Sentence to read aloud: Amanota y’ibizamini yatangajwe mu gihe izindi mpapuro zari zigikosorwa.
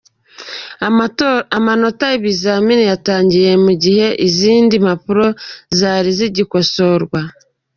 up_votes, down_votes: 1, 2